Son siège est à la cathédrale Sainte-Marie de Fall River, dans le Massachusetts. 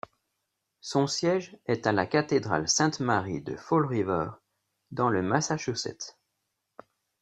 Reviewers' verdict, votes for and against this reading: accepted, 2, 0